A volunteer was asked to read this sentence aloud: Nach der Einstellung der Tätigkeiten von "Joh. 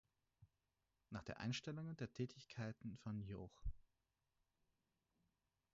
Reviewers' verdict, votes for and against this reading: rejected, 0, 4